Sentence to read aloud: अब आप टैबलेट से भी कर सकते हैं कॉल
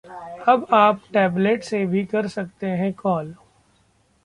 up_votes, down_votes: 2, 0